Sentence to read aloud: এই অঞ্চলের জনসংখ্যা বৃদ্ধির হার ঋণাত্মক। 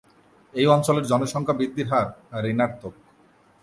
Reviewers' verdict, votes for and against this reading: accepted, 2, 0